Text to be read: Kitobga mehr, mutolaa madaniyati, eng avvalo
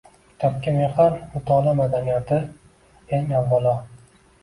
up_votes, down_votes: 2, 0